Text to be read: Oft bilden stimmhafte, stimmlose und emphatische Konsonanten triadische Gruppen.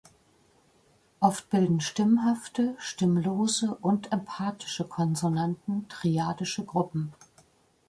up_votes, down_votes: 1, 2